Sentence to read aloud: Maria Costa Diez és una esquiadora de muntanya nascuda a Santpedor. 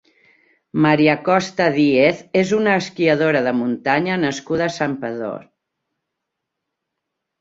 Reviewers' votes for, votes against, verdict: 0, 2, rejected